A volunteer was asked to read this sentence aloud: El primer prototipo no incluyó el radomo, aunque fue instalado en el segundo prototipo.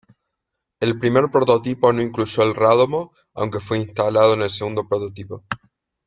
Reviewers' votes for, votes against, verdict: 2, 0, accepted